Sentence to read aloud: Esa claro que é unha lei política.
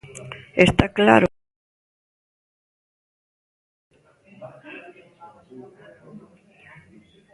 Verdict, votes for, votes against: rejected, 0, 2